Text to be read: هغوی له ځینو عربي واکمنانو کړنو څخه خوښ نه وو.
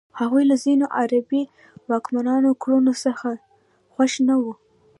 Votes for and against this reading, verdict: 2, 0, accepted